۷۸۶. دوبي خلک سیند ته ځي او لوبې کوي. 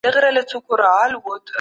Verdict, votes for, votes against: rejected, 0, 2